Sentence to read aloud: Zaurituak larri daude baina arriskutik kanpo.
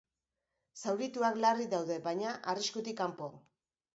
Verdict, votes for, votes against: accepted, 2, 0